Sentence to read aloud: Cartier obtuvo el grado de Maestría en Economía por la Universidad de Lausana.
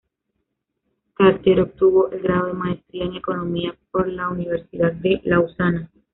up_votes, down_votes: 1, 2